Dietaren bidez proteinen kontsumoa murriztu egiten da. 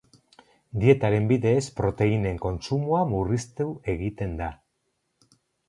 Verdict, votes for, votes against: accepted, 10, 0